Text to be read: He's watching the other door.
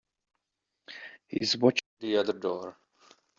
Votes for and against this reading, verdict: 1, 2, rejected